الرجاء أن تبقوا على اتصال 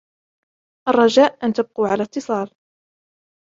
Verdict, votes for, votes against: accepted, 2, 0